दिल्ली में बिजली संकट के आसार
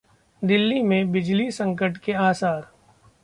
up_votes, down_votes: 2, 1